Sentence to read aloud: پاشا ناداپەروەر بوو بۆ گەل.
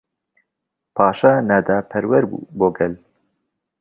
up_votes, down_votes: 2, 0